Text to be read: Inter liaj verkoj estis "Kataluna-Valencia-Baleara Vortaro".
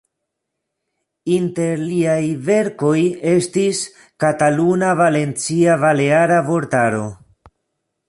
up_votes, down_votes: 2, 0